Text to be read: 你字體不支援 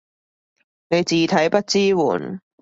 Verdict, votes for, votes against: accepted, 2, 0